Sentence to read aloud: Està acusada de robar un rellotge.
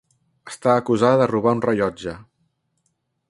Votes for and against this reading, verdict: 3, 0, accepted